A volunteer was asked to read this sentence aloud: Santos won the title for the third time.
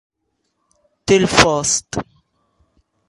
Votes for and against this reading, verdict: 0, 2, rejected